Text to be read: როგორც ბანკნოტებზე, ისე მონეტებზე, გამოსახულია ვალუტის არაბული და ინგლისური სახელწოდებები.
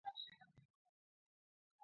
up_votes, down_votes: 0, 2